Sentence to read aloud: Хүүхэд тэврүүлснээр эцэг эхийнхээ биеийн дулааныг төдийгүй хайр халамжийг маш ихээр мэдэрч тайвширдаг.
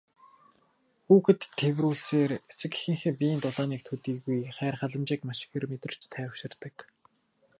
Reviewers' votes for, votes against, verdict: 0, 2, rejected